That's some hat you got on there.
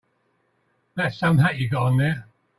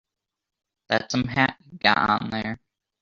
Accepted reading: first